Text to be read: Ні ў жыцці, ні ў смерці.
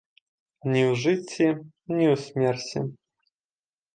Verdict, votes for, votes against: accepted, 2, 0